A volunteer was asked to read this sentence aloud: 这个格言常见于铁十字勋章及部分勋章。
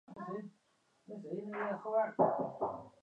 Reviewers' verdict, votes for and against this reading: rejected, 0, 5